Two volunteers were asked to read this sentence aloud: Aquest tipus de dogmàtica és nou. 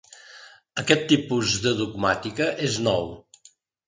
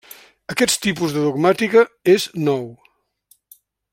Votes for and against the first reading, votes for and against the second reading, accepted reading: 3, 0, 1, 2, first